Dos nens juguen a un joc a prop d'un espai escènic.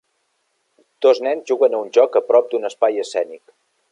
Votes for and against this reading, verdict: 3, 0, accepted